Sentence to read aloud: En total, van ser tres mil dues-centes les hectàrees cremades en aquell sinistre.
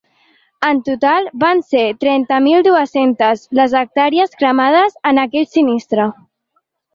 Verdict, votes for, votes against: rejected, 1, 2